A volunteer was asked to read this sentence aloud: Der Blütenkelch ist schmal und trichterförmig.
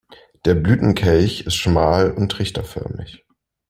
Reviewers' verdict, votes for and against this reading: accepted, 2, 0